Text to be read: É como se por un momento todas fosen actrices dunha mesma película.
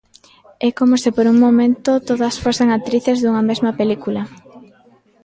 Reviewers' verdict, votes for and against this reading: accepted, 2, 0